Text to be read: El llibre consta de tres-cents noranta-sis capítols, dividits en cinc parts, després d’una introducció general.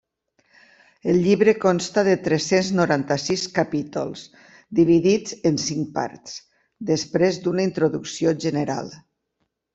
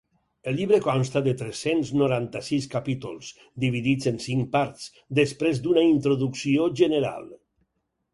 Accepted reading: second